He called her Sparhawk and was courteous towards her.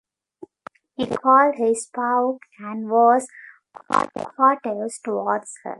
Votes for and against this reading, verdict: 1, 2, rejected